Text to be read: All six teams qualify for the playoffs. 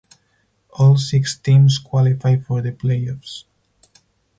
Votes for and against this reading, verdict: 6, 0, accepted